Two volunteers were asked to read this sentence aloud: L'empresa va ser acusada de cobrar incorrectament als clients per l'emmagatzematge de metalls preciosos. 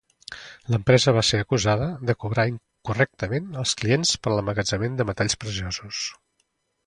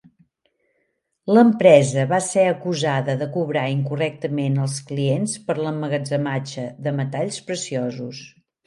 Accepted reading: second